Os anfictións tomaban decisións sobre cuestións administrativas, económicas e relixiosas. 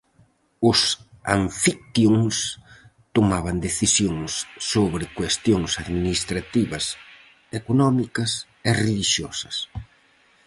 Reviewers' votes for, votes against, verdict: 0, 4, rejected